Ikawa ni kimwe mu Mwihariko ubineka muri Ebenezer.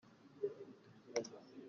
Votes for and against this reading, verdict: 0, 2, rejected